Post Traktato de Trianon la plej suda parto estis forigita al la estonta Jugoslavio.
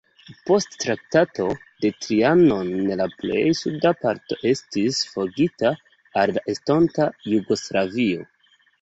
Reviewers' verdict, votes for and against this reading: accepted, 2, 1